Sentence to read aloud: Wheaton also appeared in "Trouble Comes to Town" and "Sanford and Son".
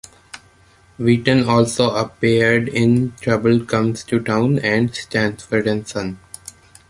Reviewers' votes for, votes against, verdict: 1, 2, rejected